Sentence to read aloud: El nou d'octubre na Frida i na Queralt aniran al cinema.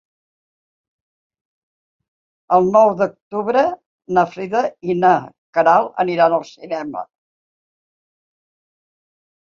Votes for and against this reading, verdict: 6, 2, accepted